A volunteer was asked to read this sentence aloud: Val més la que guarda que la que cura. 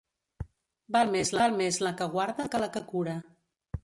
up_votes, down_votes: 1, 2